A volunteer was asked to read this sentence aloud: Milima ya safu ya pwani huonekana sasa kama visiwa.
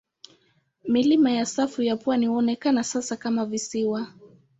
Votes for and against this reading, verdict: 2, 0, accepted